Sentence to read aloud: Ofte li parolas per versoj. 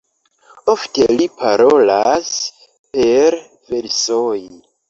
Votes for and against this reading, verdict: 1, 2, rejected